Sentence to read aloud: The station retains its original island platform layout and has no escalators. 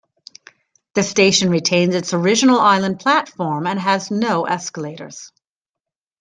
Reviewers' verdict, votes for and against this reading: rejected, 1, 2